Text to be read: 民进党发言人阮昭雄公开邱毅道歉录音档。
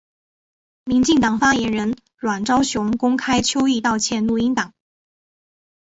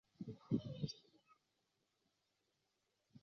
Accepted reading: first